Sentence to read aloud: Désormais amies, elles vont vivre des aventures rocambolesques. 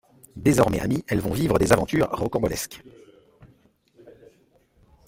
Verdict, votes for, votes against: accepted, 2, 0